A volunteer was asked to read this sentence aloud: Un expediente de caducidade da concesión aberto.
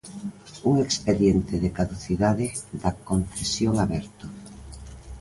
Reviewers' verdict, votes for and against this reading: accepted, 2, 0